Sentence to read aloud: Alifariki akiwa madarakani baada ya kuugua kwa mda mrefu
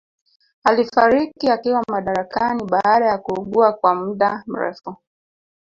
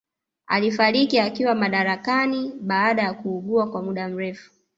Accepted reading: second